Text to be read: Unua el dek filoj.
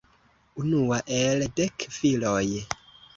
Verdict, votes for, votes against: accepted, 2, 0